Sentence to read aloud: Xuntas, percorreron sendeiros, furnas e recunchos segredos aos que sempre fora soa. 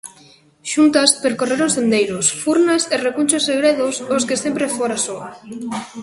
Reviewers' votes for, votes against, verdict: 1, 2, rejected